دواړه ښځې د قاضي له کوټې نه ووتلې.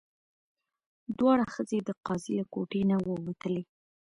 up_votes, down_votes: 1, 2